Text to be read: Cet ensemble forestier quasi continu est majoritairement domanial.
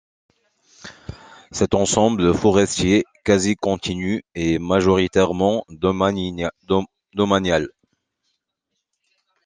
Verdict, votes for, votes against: rejected, 2, 3